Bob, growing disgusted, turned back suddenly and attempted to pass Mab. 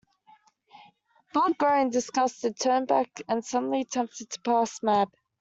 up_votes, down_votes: 0, 2